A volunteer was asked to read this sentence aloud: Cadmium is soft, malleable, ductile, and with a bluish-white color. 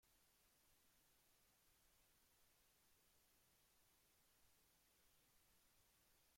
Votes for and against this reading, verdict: 0, 2, rejected